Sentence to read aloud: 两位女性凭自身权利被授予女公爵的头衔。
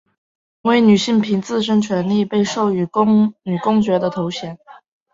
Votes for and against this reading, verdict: 1, 2, rejected